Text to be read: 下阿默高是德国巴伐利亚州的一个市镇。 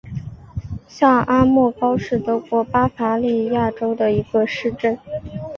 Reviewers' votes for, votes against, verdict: 2, 0, accepted